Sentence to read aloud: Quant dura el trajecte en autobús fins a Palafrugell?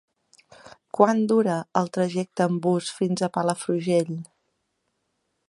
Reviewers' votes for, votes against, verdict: 0, 2, rejected